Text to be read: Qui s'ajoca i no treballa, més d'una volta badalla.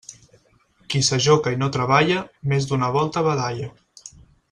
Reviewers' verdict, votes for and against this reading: accepted, 6, 0